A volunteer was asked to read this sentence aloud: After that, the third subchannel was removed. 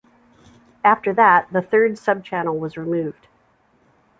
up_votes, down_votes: 2, 0